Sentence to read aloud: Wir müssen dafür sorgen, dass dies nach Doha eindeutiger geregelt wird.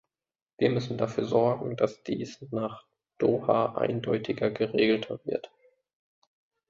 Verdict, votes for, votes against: rejected, 0, 2